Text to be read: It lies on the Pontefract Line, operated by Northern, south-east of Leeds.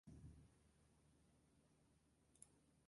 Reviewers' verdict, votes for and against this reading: rejected, 0, 2